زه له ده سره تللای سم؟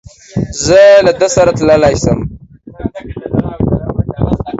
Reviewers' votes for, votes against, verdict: 1, 2, rejected